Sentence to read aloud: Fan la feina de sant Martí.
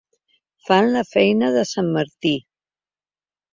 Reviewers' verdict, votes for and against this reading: accepted, 3, 0